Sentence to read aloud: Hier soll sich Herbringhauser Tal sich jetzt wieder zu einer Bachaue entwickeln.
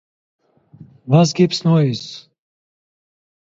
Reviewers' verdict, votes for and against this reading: rejected, 0, 2